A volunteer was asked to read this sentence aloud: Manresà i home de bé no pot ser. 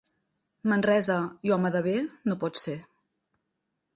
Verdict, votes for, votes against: rejected, 1, 2